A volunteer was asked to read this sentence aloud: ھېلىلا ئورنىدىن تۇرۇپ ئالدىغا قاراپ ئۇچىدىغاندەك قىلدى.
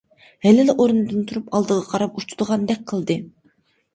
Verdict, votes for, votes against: accepted, 2, 0